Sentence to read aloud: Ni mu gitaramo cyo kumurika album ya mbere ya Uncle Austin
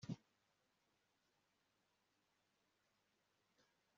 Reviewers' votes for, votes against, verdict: 0, 2, rejected